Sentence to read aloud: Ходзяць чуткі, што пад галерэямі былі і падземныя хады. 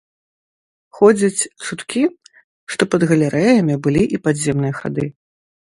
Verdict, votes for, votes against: rejected, 1, 2